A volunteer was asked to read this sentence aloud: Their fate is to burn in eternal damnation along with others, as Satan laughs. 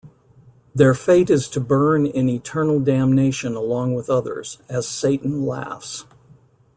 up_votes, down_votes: 2, 0